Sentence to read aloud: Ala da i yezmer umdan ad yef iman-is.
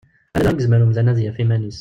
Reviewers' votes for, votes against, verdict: 0, 2, rejected